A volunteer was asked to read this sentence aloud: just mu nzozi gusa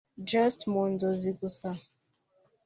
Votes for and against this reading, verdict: 2, 0, accepted